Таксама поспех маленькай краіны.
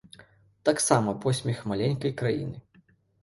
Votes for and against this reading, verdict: 1, 2, rejected